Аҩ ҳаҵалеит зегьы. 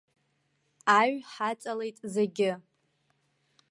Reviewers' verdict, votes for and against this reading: accepted, 2, 0